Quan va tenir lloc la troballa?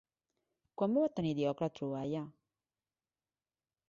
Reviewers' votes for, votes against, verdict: 1, 2, rejected